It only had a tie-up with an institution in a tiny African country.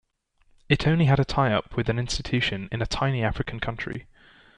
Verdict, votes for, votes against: accepted, 2, 0